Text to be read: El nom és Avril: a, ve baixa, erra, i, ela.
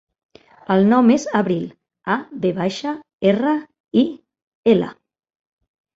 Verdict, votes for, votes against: accepted, 2, 0